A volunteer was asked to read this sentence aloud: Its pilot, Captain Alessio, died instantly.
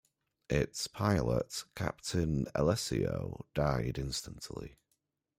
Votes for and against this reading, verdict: 2, 0, accepted